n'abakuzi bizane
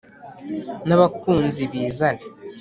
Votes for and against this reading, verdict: 1, 2, rejected